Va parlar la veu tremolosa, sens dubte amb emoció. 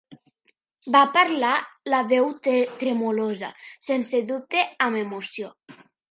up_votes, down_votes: 0, 2